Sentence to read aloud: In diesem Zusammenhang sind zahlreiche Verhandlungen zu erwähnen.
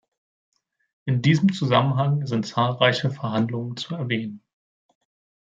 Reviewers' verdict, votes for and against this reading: accepted, 2, 0